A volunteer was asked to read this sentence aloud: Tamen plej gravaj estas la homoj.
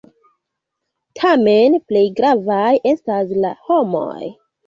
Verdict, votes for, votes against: accepted, 2, 0